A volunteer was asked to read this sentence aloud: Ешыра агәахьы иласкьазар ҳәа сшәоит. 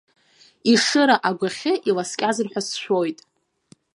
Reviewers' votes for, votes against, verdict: 3, 0, accepted